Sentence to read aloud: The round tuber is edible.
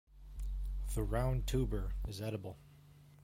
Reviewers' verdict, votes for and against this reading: accepted, 2, 0